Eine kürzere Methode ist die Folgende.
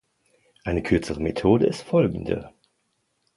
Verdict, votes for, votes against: rejected, 0, 2